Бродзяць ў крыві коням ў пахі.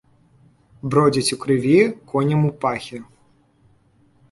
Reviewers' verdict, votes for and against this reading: accepted, 3, 0